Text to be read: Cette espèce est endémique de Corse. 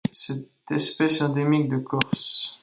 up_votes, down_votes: 0, 2